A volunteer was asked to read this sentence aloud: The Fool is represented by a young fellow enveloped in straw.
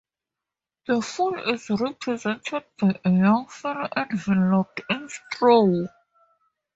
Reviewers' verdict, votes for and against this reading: rejected, 0, 2